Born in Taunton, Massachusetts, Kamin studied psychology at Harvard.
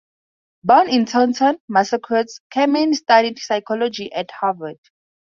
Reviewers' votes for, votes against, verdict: 0, 4, rejected